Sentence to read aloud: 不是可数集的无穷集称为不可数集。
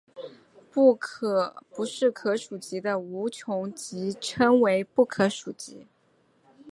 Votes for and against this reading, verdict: 2, 4, rejected